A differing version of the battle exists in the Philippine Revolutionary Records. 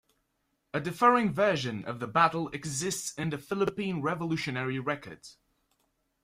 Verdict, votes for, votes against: accepted, 2, 1